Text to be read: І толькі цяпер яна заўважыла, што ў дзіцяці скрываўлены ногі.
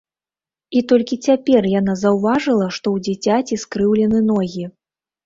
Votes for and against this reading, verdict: 0, 2, rejected